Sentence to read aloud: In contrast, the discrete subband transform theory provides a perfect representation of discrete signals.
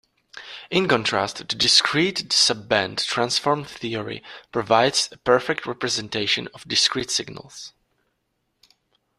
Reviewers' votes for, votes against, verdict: 0, 2, rejected